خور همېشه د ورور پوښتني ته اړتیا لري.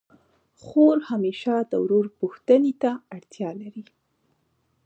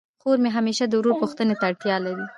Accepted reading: first